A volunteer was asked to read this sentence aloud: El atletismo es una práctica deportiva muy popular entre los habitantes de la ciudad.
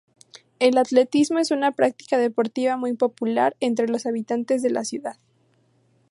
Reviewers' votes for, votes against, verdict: 0, 2, rejected